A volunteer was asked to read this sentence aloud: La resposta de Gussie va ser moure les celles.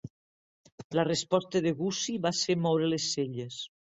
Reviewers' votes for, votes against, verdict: 2, 0, accepted